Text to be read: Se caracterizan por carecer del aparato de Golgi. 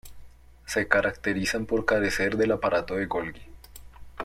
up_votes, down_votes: 1, 2